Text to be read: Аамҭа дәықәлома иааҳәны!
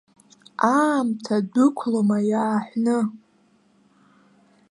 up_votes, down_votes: 2, 0